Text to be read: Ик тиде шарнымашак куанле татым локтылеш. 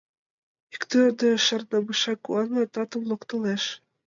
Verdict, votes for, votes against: rejected, 1, 2